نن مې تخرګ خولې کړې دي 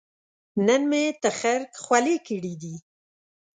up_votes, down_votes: 2, 0